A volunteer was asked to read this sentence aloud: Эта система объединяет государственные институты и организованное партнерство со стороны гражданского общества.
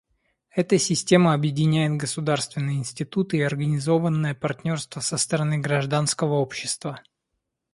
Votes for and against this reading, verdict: 2, 0, accepted